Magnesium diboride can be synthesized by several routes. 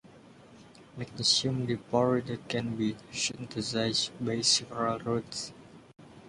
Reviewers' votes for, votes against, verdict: 0, 2, rejected